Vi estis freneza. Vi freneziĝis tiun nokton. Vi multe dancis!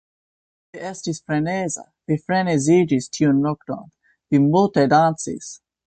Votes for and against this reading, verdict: 2, 0, accepted